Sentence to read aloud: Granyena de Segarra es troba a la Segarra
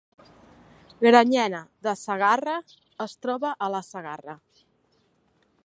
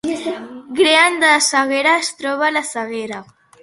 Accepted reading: first